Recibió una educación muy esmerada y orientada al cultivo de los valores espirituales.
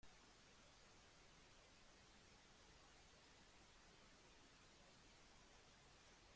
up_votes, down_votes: 0, 2